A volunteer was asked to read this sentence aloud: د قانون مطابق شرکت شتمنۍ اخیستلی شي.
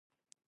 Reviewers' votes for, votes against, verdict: 0, 2, rejected